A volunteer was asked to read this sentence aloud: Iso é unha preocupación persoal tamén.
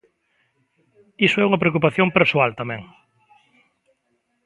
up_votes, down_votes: 2, 0